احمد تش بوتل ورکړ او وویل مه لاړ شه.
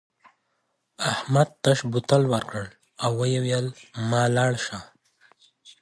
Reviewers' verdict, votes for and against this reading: accepted, 2, 0